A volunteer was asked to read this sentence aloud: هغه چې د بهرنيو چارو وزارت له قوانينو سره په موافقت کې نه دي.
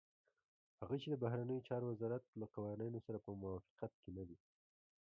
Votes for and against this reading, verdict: 0, 2, rejected